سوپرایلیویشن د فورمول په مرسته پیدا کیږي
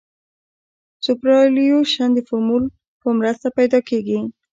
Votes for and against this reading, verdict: 2, 0, accepted